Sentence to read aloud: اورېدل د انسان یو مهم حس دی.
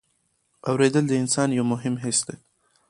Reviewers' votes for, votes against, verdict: 0, 2, rejected